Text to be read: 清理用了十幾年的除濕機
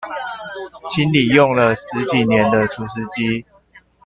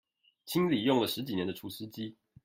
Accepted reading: first